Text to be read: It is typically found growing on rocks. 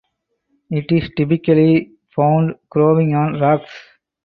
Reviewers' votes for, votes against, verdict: 4, 0, accepted